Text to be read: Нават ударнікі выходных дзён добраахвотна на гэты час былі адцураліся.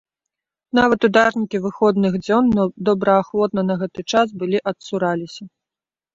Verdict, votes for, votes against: rejected, 1, 2